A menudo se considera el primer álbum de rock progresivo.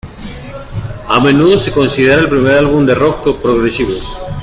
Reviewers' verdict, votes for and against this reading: rejected, 1, 2